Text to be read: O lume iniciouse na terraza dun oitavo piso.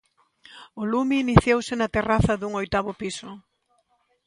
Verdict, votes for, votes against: accepted, 3, 0